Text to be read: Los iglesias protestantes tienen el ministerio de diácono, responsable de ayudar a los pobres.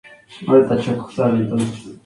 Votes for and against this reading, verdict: 0, 2, rejected